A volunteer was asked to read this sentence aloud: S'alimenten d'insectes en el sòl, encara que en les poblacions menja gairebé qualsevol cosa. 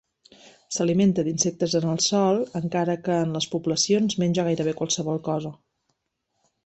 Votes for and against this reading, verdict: 1, 2, rejected